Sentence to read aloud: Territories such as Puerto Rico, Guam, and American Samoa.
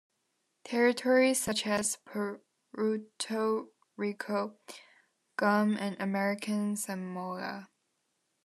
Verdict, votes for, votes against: rejected, 0, 2